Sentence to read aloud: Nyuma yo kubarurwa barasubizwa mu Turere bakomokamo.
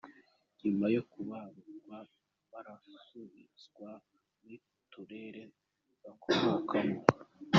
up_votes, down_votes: 1, 2